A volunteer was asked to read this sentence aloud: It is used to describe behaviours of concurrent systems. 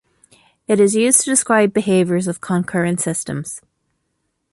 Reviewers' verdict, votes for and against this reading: accepted, 2, 0